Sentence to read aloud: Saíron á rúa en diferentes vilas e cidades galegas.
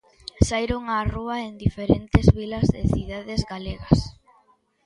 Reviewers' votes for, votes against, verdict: 2, 0, accepted